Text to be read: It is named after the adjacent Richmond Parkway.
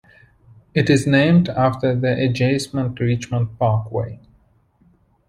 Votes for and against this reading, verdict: 2, 1, accepted